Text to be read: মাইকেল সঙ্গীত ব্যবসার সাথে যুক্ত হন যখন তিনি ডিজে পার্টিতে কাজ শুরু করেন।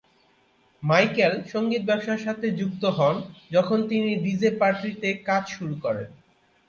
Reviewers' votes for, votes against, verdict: 12, 0, accepted